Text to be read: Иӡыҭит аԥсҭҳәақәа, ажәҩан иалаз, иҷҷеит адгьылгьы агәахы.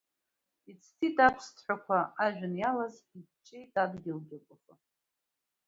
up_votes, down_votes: 0, 2